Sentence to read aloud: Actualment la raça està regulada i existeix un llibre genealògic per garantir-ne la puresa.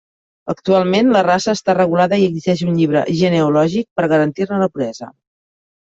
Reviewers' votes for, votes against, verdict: 0, 2, rejected